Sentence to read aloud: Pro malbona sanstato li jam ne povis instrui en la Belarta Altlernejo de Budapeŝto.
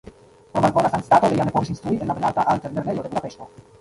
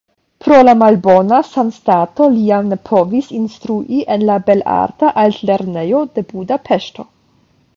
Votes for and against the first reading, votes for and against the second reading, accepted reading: 0, 2, 5, 0, second